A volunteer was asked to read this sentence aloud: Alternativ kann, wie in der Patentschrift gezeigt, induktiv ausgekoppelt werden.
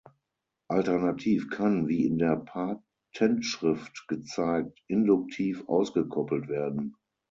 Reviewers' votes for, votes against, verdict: 0, 6, rejected